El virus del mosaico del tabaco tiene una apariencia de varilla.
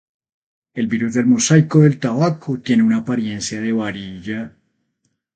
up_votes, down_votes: 0, 2